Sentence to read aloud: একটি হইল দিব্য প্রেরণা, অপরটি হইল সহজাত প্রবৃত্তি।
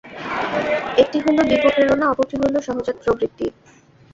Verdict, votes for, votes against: rejected, 0, 2